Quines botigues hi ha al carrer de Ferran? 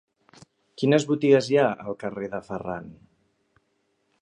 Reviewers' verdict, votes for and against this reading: accepted, 2, 0